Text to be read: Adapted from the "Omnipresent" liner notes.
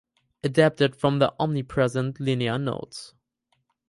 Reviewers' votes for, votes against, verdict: 0, 4, rejected